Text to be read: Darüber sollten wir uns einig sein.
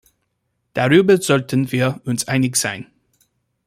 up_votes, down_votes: 2, 0